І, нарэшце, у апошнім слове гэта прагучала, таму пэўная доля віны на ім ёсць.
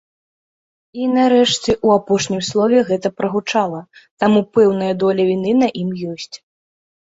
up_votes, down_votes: 2, 0